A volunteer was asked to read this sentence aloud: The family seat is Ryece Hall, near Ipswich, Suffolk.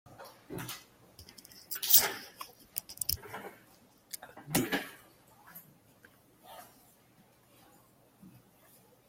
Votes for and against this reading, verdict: 0, 2, rejected